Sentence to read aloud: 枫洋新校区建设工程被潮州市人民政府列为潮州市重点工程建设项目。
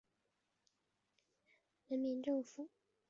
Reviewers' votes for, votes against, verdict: 0, 3, rejected